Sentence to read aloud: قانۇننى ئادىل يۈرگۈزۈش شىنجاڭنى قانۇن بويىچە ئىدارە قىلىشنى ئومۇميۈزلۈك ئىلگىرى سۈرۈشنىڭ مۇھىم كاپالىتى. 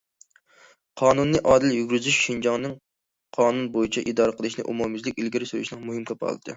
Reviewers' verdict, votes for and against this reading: rejected, 1, 2